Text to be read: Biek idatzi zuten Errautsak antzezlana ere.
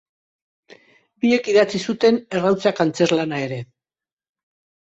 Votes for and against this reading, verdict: 3, 0, accepted